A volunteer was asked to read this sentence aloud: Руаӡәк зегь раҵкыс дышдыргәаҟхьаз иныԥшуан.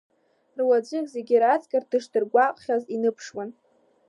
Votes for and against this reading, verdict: 0, 2, rejected